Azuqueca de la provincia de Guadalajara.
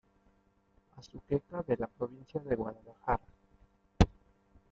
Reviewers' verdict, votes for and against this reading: rejected, 1, 2